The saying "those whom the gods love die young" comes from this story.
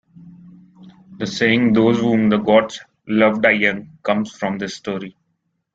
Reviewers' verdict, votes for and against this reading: accepted, 2, 0